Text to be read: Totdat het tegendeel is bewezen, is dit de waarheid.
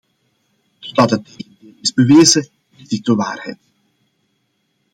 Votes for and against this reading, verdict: 0, 2, rejected